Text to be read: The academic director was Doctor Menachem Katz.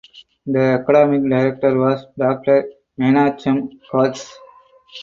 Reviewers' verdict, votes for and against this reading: rejected, 2, 4